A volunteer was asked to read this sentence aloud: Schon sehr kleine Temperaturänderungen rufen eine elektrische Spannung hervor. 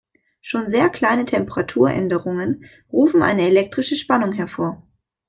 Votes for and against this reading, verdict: 2, 0, accepted